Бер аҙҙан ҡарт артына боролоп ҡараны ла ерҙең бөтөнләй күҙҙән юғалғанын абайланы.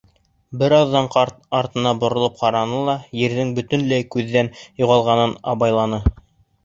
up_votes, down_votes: 2, 0